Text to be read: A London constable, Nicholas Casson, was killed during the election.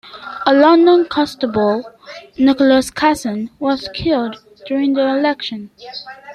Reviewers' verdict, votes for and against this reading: accepted, 2, 0